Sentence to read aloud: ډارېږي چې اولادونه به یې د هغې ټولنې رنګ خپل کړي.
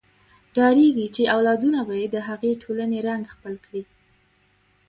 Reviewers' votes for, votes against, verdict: 0, 2, rejected